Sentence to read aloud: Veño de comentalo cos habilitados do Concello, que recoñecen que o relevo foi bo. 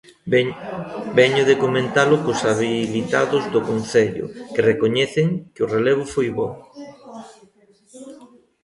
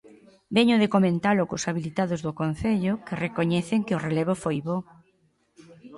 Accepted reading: second